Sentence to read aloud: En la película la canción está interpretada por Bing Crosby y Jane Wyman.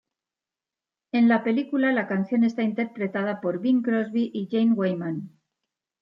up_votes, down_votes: 1, 2